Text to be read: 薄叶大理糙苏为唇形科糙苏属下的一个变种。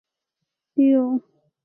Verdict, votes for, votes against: rejected, 2, 6